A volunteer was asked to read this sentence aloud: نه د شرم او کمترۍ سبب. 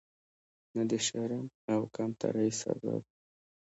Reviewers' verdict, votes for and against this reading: accepted, 2, 0